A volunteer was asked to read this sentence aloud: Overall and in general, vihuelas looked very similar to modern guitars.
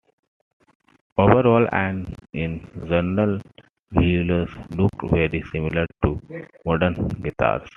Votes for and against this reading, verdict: 2, 0, accepted